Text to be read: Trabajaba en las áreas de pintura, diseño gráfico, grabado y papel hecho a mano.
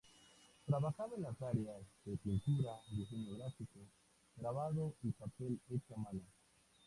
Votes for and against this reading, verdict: 2, 0, accepted